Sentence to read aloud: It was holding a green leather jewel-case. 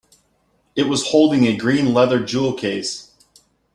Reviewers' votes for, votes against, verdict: 2, 0, accepted